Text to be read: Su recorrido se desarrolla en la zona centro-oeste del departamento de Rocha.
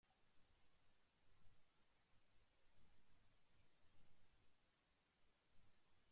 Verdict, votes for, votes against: rejected, 0, 2